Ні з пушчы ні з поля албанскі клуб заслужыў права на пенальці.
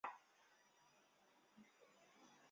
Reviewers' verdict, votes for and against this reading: rejected, 0, 2